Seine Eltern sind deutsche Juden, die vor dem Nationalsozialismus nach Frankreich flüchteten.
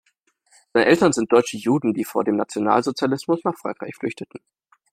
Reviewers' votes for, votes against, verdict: 1, 2, rejected